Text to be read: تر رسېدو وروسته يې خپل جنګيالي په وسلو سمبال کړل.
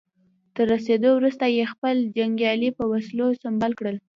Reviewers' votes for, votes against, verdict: 1, 2, rejected